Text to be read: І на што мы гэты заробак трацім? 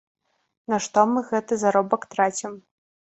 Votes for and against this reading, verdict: 1, 2, rejected